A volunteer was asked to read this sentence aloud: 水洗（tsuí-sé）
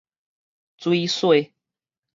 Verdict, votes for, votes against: rejected, 2, 2